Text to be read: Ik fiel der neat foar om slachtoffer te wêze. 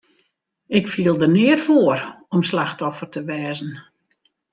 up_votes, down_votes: 0, 2